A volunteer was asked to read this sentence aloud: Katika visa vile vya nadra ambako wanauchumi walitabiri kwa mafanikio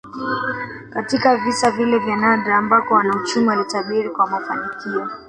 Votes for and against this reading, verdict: 1, 2, rejected